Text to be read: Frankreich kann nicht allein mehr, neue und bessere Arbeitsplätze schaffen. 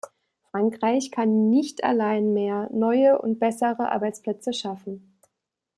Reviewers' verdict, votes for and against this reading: accepted, 2, 1